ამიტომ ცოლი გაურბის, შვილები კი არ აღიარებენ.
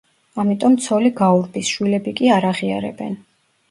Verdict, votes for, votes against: accepted, 2, 0